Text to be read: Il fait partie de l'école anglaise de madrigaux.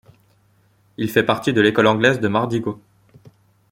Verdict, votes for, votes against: rejected, 1, 2